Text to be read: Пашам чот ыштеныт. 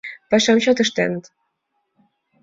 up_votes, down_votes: 2, 0